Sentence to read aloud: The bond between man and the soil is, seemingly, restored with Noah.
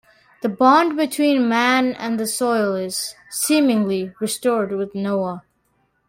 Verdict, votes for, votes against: accepted, 2, 0